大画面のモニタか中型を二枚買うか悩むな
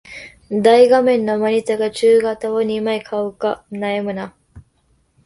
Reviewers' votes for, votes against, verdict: 2, 0, accepted